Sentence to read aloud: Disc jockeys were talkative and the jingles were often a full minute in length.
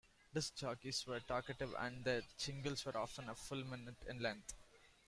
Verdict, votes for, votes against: accepted, 2, 1